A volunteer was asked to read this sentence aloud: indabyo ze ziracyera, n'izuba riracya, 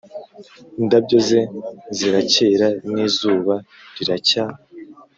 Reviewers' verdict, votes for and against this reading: accepted, 2, 0